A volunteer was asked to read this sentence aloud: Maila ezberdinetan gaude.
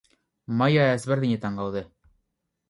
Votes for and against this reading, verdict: 2, 2, rejected